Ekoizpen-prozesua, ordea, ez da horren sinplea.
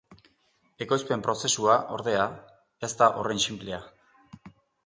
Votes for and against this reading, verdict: 3, 0, accepted